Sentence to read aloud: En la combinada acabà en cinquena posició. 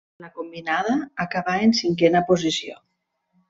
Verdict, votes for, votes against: rejected, 0, 2